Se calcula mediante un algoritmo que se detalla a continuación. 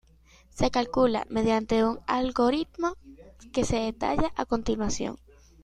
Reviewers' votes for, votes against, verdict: 2, 1, accepted